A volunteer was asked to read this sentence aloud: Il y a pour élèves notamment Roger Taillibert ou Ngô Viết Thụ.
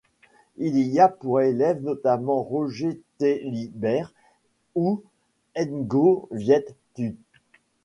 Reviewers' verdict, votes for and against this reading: rejected, 0, 2